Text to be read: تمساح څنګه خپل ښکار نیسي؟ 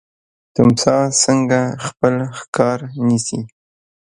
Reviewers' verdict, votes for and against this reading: rejected, 1, 2